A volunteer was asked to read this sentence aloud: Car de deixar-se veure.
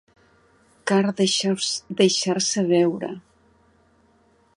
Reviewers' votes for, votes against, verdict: 1, 2, rejected